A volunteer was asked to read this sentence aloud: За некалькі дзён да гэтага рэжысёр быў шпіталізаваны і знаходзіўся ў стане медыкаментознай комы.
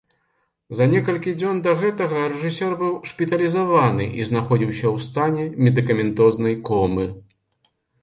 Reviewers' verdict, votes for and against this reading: accepted, 2, 0